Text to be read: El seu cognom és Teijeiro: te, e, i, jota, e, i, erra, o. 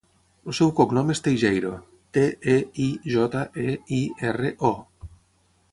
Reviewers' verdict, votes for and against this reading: rejected, 0, 3